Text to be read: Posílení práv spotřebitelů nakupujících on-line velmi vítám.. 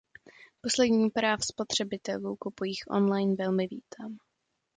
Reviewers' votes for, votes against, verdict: 0, 2, rejected